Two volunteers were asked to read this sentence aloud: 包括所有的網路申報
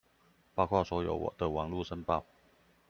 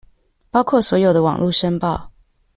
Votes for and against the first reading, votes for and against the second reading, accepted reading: 0, 2, 2, 0, second